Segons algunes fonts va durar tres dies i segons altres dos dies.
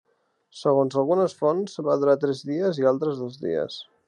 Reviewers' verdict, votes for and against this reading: rejected, 0, 2